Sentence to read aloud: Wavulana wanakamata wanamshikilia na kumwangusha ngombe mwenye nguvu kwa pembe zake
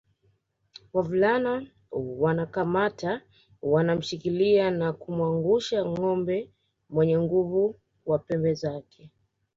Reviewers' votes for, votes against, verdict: 0, 2, rejected